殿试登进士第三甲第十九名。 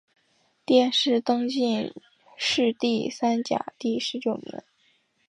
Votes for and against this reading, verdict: 2, 0, accepted